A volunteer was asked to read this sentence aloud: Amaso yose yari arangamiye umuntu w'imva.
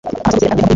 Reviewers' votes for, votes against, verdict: 1, 2, rejected